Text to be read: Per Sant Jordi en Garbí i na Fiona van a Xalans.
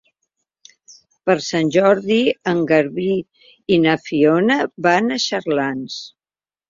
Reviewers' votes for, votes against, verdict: 0, 3, rejected